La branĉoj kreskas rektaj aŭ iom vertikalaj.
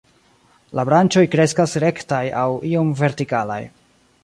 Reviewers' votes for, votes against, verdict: 3, 0, accepted